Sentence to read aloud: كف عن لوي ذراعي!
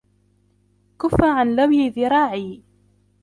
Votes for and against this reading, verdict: 0, 2, rejected